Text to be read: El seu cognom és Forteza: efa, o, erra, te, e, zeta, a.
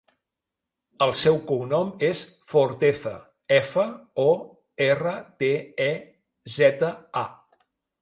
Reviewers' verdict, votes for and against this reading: accepted, 2, 0